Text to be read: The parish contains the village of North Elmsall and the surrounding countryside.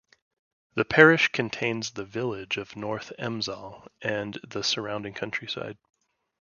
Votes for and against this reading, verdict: 0, 2, rejected